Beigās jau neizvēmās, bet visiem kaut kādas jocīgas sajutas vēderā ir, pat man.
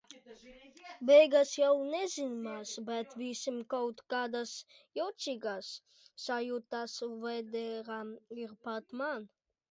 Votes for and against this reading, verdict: 1, 2, rejected